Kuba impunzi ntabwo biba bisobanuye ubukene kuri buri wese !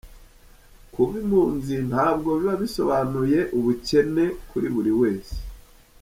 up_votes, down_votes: 2, 0